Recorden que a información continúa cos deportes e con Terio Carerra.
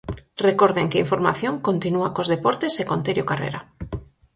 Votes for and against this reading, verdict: 2, 4, rejected